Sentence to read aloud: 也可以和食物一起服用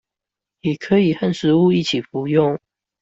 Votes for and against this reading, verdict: 2, 1, accepted